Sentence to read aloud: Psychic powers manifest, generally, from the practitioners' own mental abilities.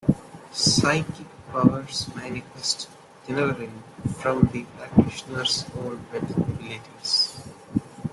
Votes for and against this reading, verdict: 0, 2, rejected